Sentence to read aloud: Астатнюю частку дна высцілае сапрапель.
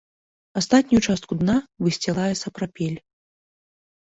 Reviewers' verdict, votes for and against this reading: accepted, 2, 0